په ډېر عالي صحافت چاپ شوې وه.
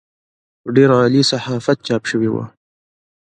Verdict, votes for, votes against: accepted, 2, 0